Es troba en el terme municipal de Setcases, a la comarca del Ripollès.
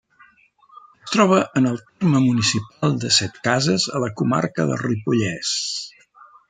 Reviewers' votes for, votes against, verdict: 0, 2, rejected